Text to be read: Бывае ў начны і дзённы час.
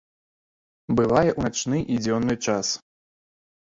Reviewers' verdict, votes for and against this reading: accepted, 2, 0